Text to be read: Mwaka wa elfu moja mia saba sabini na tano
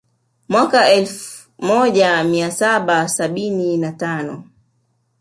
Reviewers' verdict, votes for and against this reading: rejected, 0, 2